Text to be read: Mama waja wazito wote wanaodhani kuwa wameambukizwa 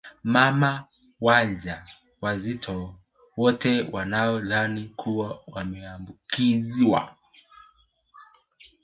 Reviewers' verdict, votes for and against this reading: accepted, 2, 1